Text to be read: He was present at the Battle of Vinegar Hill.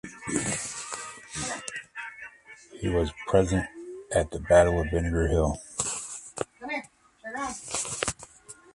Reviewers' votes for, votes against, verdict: 1, 2, rejected